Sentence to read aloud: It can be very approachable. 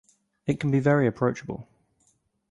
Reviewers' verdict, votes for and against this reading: accepted, 4, 0